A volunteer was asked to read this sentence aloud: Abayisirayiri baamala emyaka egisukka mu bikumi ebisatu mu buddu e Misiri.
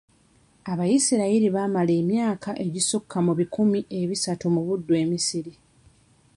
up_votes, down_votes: 2, 0